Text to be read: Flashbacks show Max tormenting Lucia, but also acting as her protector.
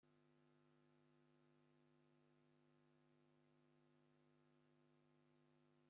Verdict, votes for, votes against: rejected, 0, 2